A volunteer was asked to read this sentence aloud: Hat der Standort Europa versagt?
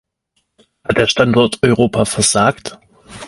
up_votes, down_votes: 2, 0